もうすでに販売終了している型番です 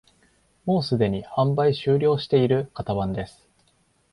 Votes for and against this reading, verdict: 2, 0, accepted